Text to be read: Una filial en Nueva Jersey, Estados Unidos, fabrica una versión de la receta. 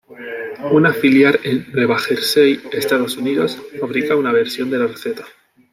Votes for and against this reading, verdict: 0, 2, rejected